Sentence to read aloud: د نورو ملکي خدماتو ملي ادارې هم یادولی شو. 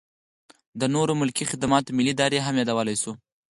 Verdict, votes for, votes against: accepted, 4, 0